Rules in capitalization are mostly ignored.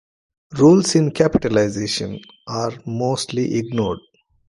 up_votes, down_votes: 2, 0